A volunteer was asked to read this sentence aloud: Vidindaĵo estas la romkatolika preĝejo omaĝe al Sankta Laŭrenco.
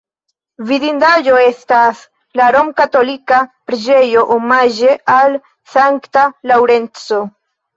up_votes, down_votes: 1, 2